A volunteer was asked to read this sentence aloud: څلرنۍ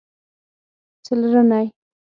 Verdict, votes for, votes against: rejected, 3, 6